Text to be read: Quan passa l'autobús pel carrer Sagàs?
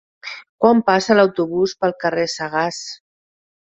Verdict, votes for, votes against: accepted, 4, 0